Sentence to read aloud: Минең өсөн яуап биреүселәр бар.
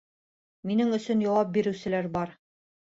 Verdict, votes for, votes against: accepted, 2, 0